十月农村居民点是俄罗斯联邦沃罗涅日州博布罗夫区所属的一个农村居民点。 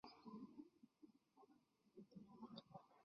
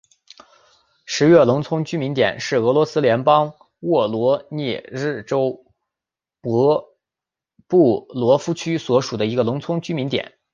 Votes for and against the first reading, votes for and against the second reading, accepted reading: 0, 2, 5, 1, second